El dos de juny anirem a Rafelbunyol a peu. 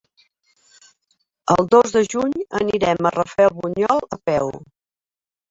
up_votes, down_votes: 2, 1